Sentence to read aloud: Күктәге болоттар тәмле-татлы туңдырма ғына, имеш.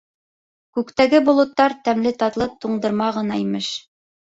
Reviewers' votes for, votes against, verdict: 3, 0, accepted